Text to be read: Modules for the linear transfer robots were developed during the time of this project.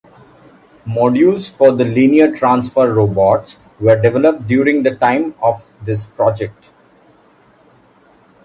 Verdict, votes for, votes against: accepted, 2, 0